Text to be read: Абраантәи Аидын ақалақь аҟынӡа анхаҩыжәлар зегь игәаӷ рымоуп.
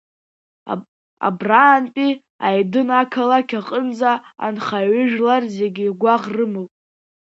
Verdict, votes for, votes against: accepted, 2, 1